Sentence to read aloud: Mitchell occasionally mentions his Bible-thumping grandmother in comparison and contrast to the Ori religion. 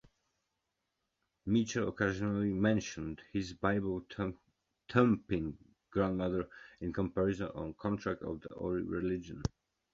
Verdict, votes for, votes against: rejected, 1, 2